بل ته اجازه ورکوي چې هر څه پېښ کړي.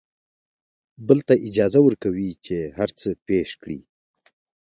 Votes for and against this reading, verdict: 0, 2, rejected